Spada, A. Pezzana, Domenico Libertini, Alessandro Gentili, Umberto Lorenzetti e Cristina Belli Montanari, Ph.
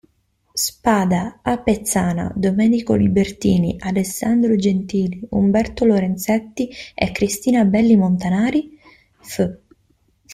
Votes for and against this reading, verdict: 1, 2, rejected